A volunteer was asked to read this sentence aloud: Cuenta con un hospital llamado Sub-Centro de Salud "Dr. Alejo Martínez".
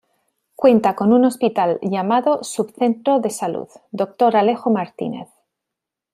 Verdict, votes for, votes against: accepted, 2, 0